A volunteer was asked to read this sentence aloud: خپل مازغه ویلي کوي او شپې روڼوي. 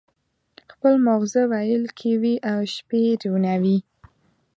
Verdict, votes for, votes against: rejected, 1, 2